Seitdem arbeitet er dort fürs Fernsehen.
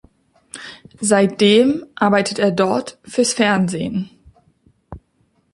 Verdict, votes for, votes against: accepted, 2, 0